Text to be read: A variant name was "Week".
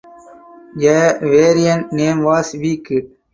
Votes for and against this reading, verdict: 2, 4, rejected